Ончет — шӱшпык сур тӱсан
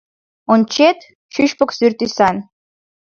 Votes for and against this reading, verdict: 0, 2, rejected